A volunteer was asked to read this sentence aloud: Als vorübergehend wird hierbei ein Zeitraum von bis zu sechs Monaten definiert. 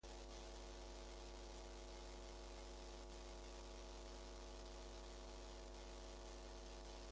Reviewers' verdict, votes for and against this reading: rejected, 0, 2